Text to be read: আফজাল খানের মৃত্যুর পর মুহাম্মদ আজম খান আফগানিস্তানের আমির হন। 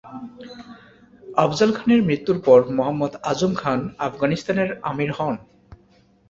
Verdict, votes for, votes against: accepted, 2, 0